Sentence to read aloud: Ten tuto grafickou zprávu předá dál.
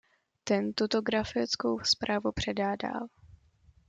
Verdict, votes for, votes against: accepted, 2, 0